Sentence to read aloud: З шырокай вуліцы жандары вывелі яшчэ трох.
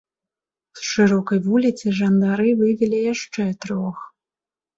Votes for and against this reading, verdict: 0, 2, rejected